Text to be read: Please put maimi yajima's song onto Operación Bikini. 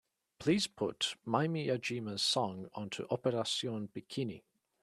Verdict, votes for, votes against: accepted, 2, 0